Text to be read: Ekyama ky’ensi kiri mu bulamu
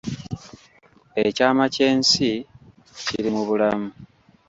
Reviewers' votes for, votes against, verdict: 2, 1, accepted